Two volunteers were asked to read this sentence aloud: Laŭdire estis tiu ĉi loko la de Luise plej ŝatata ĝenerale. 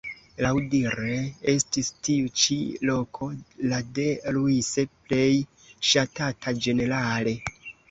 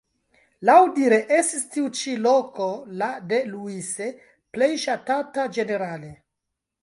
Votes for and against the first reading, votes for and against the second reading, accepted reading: 2, 0, 0, 2, first